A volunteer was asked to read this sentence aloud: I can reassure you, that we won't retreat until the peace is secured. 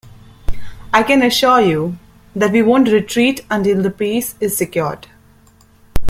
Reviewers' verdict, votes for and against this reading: accepted, 2, 1